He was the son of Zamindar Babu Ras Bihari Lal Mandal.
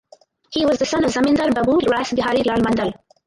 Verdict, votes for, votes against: rejected, 2, 2